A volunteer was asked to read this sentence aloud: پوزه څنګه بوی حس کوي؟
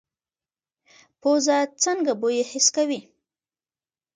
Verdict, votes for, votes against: accepted, 3, 1